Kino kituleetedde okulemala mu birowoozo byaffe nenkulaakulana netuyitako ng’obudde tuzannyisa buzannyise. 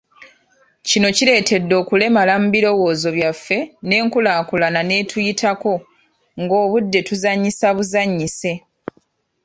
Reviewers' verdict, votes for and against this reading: rejected, 1, 2